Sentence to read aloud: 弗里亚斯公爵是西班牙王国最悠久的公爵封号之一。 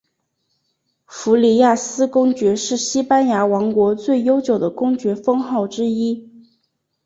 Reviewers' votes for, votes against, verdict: 3, 0, accepted